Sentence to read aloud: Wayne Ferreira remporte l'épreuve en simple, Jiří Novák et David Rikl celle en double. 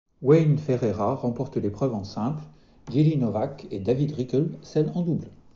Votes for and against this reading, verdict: 2, 0, accepted